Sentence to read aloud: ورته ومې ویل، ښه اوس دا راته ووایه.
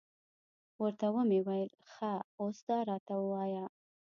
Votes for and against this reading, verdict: 1, 2, rejected